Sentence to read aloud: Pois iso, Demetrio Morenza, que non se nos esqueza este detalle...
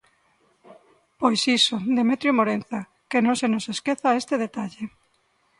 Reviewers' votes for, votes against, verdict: 2, 0, accepted